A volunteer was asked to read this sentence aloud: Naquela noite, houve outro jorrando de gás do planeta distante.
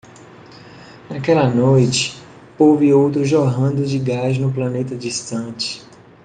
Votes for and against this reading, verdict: 1, 2, rejected